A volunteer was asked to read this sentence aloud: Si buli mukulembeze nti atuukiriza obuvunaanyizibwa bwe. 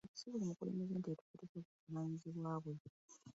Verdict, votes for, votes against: rejected, 0, 2